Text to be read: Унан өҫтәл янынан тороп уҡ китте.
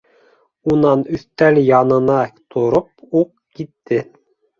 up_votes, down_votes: 1, 2